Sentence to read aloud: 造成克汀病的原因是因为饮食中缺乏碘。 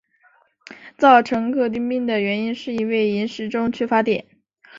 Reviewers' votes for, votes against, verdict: 4, 0, accepted